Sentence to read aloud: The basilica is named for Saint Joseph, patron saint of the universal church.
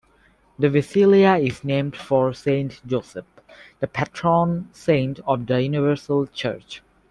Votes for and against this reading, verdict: 0, 2, rejected